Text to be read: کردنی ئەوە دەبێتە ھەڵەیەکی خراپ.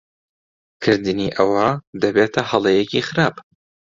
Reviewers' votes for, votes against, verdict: 2, 0, accepted